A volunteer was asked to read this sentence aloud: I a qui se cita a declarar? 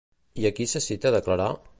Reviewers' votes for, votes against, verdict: 2, 0, accepted